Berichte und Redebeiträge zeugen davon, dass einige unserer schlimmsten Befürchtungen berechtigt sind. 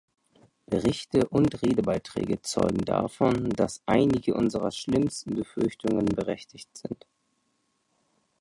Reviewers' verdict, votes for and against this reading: rejected, 1, 2